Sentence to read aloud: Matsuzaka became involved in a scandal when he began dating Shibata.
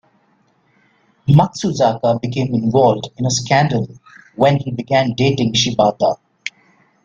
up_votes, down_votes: 2, 1